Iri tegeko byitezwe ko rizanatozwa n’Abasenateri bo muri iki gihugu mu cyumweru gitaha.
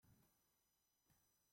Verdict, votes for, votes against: rejected, 0, 3